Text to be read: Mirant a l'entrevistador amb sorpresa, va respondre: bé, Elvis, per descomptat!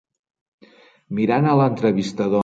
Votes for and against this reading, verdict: 0, 2, rejected